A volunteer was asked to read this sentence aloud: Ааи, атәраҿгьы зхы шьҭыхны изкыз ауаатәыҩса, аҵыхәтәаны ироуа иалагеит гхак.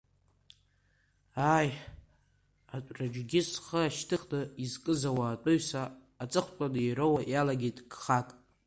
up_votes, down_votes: 0, 2